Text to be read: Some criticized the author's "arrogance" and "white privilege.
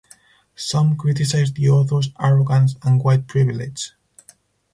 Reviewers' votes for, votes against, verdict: 2, 0, accepted